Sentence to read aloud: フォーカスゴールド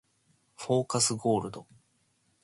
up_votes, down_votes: 2, 0